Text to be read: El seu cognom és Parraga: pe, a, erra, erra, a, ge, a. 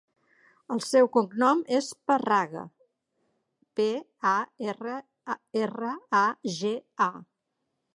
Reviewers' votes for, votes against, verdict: 2, 0, accepted